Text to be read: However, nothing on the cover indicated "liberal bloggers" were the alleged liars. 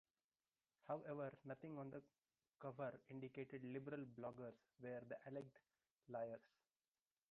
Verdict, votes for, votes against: rejected, 1, 2